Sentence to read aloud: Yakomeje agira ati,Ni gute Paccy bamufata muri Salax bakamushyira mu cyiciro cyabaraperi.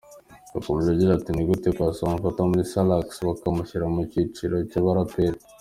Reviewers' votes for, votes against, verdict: 2, 0, accepted